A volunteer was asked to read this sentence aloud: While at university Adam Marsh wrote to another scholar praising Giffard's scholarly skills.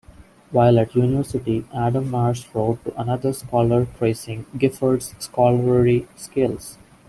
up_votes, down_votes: 1, 2